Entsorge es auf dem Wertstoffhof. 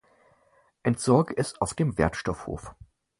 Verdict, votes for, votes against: accepted, 4, 0